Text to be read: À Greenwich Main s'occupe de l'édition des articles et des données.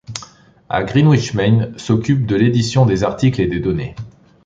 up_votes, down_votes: 2, 0